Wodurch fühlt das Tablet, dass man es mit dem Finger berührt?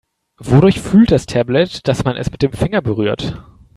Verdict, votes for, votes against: accepted, 3, 0